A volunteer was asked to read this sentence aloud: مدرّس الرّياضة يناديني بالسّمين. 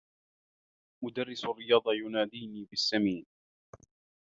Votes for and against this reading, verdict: 0, 2, rejected